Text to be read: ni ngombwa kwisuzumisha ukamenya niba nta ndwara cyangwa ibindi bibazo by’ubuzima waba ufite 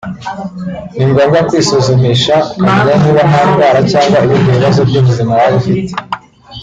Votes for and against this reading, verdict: 2, 1, accepted